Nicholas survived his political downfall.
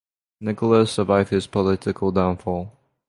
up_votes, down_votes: 6, 0